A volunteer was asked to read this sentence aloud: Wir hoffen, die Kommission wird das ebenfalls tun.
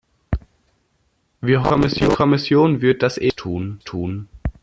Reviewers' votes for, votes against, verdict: 0, 2, rejected